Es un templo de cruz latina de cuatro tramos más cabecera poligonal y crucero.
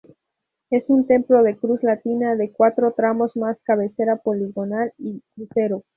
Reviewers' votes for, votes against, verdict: 2, 2, rejected